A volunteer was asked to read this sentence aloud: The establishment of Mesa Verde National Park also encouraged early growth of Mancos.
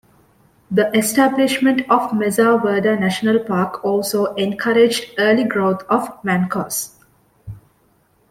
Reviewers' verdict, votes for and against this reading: accepted, 2, 0